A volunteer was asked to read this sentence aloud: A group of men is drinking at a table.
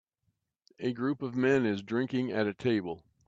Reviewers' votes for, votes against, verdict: 2, 0, accepted